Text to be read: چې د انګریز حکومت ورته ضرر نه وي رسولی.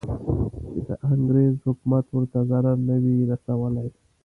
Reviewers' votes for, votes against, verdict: 0, 2, rejected